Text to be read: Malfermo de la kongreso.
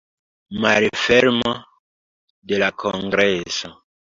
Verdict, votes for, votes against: accepted, 2, 0